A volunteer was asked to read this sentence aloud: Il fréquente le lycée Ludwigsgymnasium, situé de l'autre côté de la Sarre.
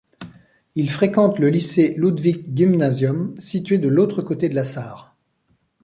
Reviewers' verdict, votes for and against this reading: accepted, 2, 0